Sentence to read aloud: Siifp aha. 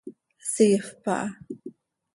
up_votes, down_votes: 2, 0